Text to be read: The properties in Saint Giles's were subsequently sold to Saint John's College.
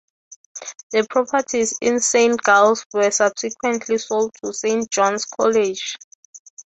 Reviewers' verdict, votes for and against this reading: accepted, 3, 0